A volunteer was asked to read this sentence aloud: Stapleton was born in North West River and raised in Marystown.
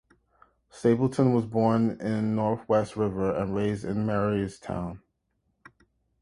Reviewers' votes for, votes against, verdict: 2, 0, accepted